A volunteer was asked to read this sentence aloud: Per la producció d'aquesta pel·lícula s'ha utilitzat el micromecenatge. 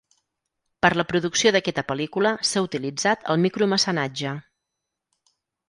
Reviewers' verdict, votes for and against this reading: rejected, 2, 4